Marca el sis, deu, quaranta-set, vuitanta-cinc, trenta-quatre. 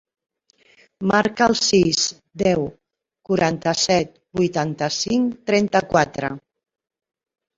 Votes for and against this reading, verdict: 4, 0, accepted